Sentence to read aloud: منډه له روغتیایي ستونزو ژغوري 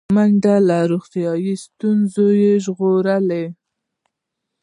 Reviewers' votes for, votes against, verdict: 0, 2, rejected